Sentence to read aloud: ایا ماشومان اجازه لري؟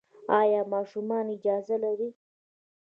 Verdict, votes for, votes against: accepted, 2, 0